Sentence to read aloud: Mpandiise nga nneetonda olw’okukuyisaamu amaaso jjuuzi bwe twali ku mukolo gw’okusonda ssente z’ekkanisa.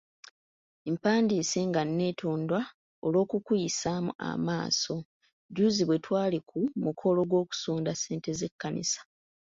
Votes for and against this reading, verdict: 3, 2, accepted